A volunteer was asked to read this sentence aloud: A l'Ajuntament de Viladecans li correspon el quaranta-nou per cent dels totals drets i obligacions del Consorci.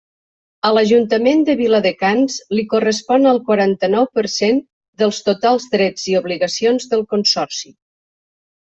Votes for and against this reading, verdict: 3, 0, accepted